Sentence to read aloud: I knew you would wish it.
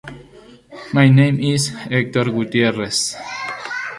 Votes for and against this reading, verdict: 0, 2, rejected